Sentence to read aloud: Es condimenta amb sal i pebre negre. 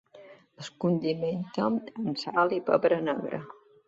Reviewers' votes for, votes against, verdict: 2, 1, accepted